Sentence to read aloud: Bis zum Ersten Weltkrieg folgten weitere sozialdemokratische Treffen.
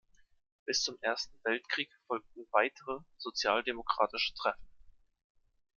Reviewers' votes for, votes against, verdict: 2, 0, accepted